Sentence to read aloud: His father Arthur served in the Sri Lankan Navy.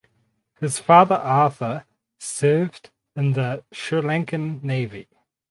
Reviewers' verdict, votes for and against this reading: accepted, 4, 0